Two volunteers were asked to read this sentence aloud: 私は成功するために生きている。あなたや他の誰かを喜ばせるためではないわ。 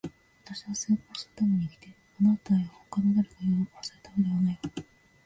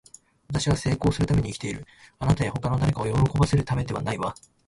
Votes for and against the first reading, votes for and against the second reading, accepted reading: 2, 1, 1, 2, first